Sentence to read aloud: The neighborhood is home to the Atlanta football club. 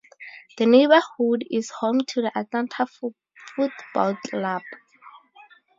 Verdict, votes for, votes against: rejected, 0, 2